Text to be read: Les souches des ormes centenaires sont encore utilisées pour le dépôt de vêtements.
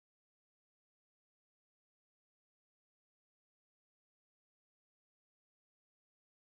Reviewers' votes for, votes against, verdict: 0, 2, rejected